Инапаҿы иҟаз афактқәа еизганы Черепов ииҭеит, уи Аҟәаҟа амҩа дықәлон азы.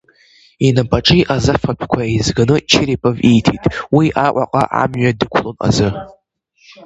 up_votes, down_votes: 0, 2